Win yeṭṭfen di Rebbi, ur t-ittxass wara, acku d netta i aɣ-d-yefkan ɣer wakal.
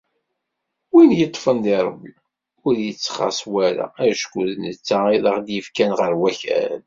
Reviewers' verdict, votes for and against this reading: accepted, 2, 0